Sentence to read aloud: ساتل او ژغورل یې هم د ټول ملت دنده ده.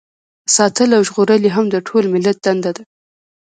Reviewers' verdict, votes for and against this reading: accepted, 2, 0